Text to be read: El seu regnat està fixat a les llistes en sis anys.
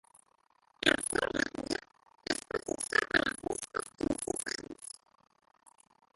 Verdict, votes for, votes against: rejected, 0, 2